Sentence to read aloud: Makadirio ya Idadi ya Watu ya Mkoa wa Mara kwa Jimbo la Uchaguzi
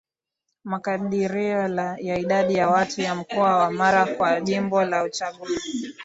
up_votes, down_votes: 2, 0